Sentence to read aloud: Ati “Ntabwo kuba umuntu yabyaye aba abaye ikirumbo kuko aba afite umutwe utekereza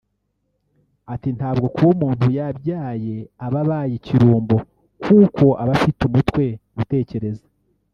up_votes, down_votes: 1, 2